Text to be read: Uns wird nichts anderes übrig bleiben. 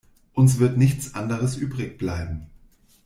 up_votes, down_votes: 3, 0